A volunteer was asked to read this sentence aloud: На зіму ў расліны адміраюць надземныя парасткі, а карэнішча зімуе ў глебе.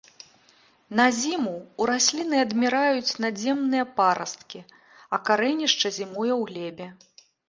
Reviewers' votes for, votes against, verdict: 2, 0, accepted